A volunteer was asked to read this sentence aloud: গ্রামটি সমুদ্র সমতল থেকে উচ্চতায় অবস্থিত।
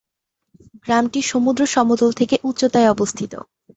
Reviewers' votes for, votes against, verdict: 10, 0, accepted